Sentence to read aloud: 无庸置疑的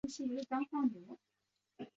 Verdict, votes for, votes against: rejected, 0, 2